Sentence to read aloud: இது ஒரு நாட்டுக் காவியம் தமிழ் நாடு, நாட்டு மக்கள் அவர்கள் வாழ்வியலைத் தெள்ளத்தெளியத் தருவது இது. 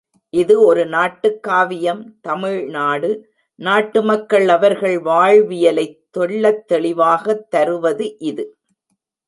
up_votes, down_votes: 0, 2